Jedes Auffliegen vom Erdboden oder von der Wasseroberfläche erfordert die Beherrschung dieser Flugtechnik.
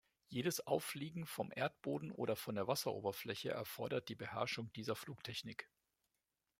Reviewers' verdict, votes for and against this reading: accepted, 2, 0